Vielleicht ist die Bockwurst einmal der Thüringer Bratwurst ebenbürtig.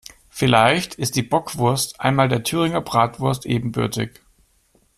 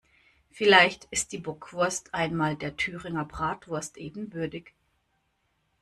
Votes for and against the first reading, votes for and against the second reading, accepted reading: 2, 0, 1, 2, first